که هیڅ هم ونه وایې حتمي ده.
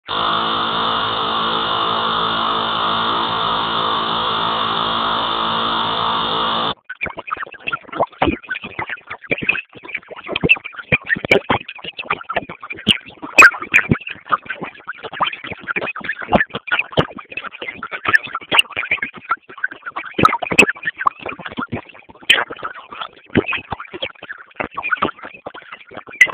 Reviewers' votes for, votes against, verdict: 0, 2, rejected